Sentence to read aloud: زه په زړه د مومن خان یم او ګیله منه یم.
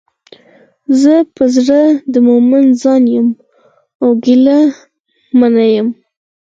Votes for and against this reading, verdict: 2, 4, rejected